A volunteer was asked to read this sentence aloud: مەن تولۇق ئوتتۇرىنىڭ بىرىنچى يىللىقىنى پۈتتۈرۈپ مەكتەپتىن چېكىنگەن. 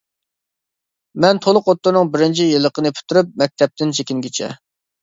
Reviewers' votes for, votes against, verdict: 0, 2, rejected